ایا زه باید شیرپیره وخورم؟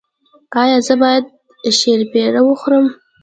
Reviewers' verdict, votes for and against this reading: accepted, 2, 0